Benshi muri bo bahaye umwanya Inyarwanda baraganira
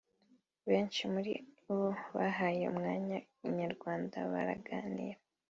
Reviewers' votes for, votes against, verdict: 2, 0, accepted